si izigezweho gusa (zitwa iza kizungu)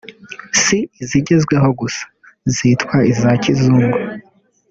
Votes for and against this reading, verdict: 2, 0, accepted